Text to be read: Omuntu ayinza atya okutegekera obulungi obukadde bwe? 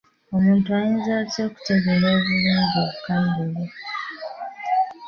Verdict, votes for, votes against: accepted, 2, 0